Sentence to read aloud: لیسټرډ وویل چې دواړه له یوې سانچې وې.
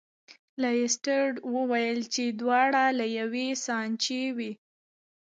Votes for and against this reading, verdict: 1, 2, rejected